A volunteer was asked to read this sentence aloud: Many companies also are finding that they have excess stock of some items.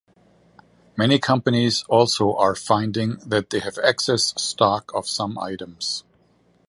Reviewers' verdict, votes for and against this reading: accepted, 2, 1